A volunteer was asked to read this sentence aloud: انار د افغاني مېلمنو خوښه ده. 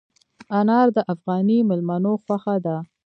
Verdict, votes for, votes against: rejected, 1, 2